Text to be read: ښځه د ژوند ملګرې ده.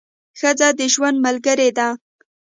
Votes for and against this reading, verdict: 2, 1, accepted